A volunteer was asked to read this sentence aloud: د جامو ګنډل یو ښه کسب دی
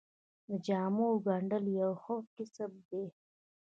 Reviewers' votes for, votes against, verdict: 0, 2, rejected